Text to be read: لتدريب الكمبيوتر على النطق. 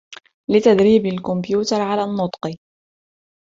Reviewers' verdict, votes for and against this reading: rejected, 0, 2